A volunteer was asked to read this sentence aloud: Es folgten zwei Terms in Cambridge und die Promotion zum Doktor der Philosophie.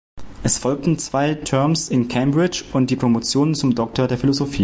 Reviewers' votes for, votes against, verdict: 2, 0, accepted